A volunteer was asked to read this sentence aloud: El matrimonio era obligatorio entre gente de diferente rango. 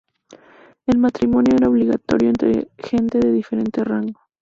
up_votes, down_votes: 2, 0